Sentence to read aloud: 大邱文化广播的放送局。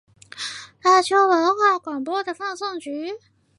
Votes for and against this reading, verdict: 3, 0, accepted